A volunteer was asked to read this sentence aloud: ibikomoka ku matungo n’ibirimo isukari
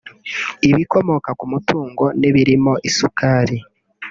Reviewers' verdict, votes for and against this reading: rejected, 0, 2